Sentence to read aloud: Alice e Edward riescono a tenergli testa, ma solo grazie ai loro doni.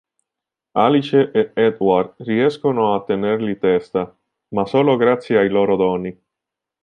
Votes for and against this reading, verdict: 0, 2, rejected